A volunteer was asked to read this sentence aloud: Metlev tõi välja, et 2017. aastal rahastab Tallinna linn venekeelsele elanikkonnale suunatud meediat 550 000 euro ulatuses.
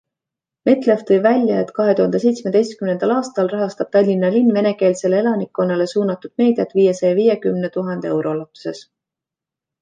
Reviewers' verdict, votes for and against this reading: rejected, 0, 2